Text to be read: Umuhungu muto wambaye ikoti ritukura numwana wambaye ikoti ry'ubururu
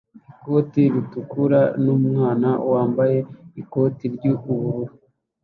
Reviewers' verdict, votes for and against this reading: rejected, 1, 2